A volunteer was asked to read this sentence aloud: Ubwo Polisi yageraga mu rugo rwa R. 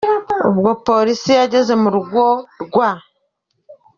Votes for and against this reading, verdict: 2, 0, accepted